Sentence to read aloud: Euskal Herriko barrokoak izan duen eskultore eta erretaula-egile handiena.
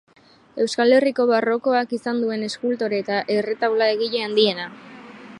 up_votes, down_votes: 2, 0